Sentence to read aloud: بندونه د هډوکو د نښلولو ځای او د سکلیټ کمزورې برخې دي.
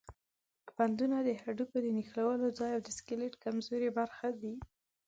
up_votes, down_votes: 2, 1